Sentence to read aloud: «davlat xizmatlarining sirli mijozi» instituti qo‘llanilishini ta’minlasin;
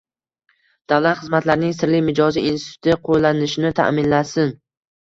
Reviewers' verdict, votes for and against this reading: accepted, 3, 0